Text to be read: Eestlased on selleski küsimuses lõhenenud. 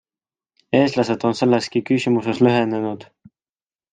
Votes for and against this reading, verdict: 2, 0, accepted